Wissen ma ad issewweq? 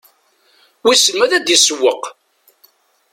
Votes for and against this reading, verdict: 0, 2, rejected